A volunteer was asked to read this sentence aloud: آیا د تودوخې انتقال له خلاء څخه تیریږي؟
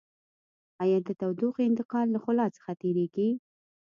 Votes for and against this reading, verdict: 2, 0, accepted